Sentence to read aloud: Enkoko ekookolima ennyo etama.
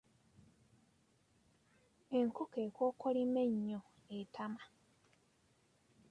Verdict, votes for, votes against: accepted, 2, 0